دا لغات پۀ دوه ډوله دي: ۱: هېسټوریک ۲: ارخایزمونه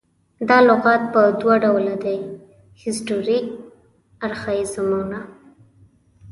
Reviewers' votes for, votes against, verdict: 0, 2, rejected